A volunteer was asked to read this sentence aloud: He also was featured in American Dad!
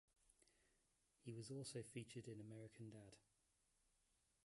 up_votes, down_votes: 1, 2